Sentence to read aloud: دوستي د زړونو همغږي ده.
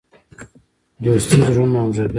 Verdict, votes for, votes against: rejected, 0, 2